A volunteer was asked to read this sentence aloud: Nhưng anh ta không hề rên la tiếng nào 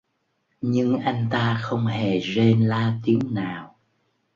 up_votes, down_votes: 1, 2